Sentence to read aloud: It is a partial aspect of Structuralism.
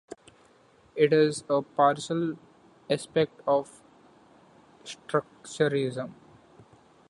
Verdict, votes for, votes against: rejected, 1, 2